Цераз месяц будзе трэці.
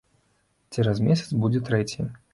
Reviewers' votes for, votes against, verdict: 2, 1, accepted